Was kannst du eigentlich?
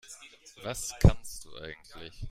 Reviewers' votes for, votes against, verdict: 1, 2, rejected